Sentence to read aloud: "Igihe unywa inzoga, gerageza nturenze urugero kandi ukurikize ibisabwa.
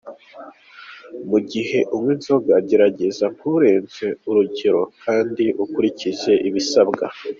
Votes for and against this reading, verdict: 4, 2, accepted